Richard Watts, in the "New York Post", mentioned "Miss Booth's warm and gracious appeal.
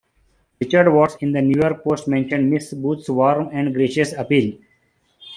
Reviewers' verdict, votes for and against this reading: accepted, 2, 1